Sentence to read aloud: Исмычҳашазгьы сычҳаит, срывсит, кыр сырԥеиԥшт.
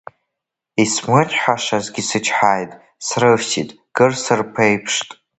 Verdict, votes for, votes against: rejected, 1, 2